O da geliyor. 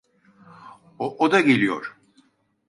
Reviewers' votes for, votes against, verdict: 0, 2, rejected